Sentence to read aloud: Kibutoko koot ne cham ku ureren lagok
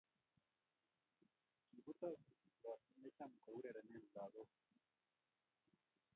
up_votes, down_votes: 1, 2